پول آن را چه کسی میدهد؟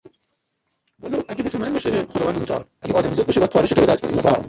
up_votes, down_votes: 0, 3